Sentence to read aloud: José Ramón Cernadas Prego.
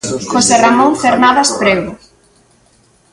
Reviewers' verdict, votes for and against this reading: accepted, 2, 1